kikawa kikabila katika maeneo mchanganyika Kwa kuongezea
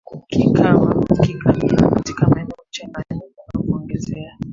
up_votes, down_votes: 1, 2